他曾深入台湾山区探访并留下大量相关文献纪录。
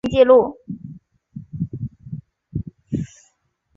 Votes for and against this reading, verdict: 0, 2, rejected